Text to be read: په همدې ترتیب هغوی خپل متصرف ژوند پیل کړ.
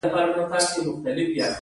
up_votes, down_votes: 2, 1